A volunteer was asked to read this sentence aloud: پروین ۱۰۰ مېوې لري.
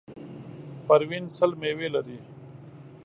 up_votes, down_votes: 0, 2